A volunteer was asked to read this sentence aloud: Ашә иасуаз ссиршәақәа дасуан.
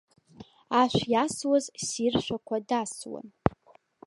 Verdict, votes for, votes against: accepted, 2, 0